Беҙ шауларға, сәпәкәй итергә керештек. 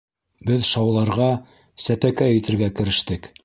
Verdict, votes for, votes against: accepted, 2, 0